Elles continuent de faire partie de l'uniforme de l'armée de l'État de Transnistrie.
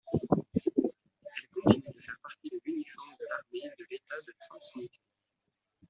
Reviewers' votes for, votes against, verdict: 0, 2, rejected